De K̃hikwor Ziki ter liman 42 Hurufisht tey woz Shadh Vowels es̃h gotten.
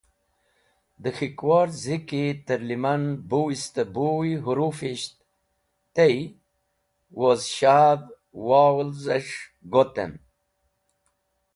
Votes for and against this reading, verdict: 0, 2, rejected